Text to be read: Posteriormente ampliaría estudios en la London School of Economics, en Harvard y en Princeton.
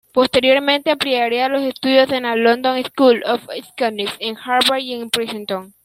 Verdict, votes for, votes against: rejected, 1, 2